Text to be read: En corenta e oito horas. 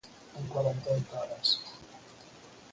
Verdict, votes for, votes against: rejected, 0, 4